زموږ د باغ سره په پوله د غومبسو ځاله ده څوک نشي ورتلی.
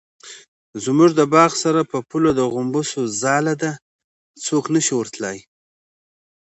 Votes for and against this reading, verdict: 2, 0, accepted